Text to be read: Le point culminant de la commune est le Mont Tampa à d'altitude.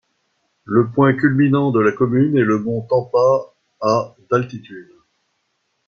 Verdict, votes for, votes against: accepted, 2, 0